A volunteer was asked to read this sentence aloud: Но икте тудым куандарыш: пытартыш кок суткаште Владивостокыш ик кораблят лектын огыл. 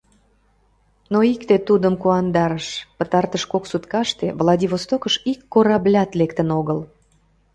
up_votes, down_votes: 2, 0